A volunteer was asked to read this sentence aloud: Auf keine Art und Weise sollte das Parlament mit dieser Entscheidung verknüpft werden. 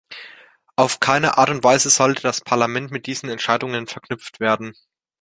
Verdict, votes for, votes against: rejected, 0, 3